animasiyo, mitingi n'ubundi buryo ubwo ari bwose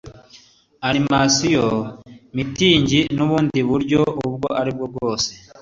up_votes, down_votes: 2, 0